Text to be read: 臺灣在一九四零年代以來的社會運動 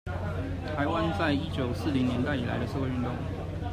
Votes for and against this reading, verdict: 1, 2, rejected